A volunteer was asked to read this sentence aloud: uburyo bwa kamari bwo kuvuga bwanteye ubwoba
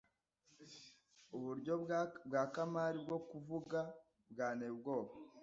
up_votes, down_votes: 0, 2